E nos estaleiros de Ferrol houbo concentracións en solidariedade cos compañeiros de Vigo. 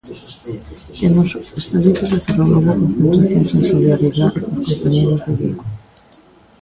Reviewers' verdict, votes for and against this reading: rejected, 0, 3